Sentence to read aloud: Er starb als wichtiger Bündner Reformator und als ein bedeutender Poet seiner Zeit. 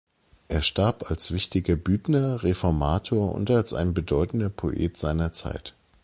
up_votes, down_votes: 0, 2